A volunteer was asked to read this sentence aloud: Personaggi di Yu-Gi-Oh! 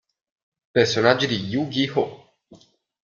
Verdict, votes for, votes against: accepted, 2, 0